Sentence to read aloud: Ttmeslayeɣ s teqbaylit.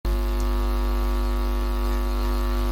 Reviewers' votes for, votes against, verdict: 0, 2, rejected